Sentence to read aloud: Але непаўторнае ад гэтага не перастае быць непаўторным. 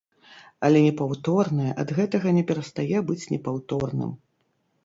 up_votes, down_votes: 2, 0